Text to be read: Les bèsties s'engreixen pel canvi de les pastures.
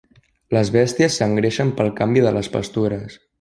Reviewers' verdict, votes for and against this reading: accepted, 3, 0